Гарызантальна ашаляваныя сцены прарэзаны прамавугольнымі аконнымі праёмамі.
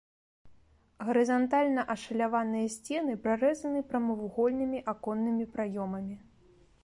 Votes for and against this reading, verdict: 2, 0, accepted